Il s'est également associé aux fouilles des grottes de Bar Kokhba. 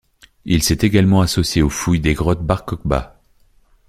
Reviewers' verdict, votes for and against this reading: rejected, 1, 3